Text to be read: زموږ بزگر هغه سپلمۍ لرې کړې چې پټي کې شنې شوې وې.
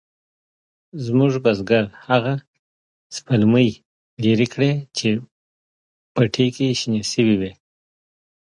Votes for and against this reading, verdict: 2, 0, accepted